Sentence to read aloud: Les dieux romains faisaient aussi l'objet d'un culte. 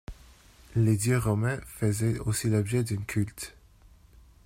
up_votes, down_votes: 1, 2